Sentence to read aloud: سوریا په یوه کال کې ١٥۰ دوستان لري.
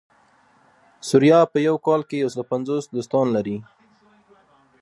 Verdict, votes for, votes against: rejected, 0, 2